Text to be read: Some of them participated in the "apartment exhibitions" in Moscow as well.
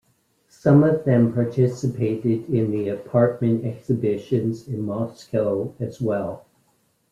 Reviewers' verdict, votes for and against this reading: accepted, 2, 0